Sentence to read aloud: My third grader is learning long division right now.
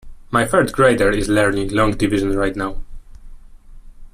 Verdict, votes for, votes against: accepted, 2, 0